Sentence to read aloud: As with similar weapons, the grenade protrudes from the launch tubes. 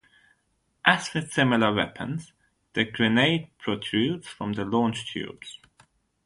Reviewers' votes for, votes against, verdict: 0, 3, rejected